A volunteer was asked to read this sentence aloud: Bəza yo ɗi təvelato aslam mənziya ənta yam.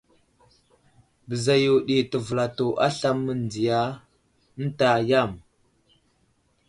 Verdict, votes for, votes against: rejected, 1, 2